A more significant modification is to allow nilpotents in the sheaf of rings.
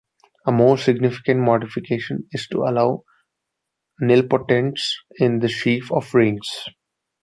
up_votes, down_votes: 2, 0